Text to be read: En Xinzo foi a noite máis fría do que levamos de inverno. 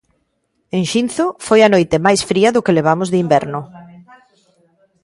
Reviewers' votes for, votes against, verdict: 1, 2, rejected